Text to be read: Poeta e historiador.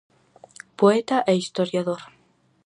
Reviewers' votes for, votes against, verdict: 4, 0, accepted